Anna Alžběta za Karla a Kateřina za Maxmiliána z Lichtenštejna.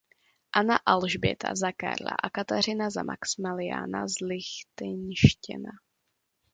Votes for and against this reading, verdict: 0, 2, rejected